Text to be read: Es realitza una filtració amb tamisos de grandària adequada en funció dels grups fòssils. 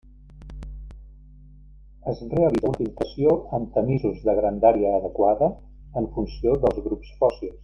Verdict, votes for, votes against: rejected, 0, 2